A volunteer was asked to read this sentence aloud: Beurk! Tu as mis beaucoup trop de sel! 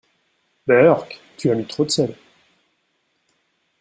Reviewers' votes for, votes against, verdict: 1, 2, rejected